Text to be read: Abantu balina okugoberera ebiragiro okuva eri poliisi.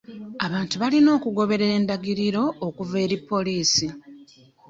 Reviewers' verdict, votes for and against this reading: rejected, 0, 2